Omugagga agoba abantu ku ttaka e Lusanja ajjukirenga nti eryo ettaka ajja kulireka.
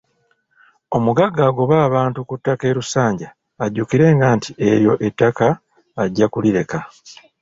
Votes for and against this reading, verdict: 2, 0, accepted